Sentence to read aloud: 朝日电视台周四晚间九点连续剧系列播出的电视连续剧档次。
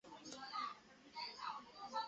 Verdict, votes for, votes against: rejected, 0, 3